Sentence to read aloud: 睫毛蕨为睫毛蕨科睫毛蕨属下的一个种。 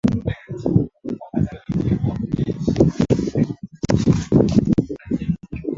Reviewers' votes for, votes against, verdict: 0, 2, rejected